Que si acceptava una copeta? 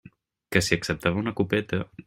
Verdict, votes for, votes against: accepted, 2, 0